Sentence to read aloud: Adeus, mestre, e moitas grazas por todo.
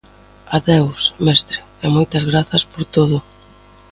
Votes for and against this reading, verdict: 2, 0, accepted